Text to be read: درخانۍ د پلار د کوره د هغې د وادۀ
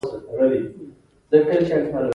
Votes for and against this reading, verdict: 0, 2, rejected